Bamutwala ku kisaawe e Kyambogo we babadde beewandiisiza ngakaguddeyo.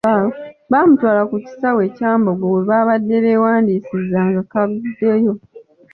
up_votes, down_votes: 2, 0